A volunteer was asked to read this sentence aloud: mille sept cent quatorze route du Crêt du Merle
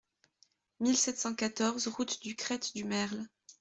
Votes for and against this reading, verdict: 0, 2, rejected